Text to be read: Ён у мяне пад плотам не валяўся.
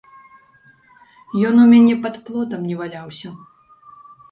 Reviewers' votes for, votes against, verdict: 1, 2, rejected